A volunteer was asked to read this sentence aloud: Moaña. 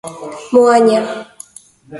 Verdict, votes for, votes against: accepted, 2, 1